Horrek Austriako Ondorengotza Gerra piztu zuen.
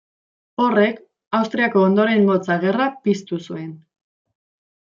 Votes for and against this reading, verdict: 2, 0, accepted